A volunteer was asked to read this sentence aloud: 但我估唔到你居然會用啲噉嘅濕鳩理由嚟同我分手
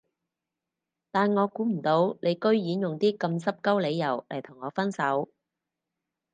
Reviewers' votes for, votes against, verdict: 2, 4, rejected